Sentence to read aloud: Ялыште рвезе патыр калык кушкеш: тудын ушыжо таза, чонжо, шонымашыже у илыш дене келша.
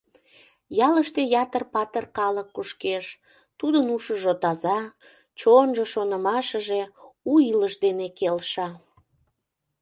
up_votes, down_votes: 0, 2